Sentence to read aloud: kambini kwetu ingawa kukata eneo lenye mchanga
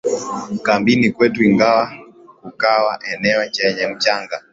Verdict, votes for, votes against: accepted, 2, 1